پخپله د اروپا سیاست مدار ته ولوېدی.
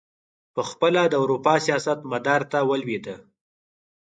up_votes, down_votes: 2, 4